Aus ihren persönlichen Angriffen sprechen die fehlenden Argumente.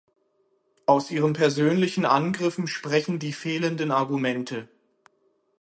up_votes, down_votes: 6, 0